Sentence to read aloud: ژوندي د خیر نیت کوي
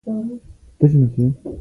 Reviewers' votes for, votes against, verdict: 0, 2, rejected